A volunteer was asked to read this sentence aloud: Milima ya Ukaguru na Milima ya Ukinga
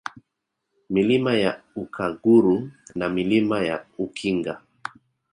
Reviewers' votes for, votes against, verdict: 2, 0, accepted